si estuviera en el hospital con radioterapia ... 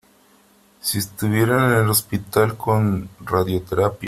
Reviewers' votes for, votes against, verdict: 1, 2, rejected